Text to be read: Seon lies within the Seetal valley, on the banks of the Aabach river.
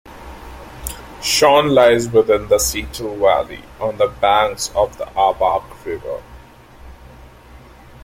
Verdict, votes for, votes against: accepted, 2, 0